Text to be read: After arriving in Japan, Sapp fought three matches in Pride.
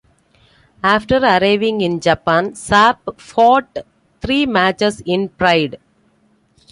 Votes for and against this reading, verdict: 2, 0, accepted